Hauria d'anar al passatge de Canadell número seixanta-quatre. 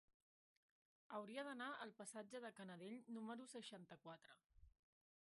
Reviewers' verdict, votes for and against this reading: rejected, 0, 2